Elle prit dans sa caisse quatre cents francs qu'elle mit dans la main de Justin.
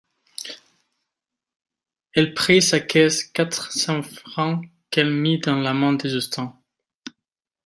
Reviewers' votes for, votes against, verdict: 0, 2, rejected